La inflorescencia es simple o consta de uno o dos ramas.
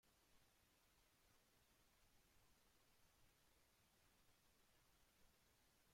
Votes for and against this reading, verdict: 0, 2, rejected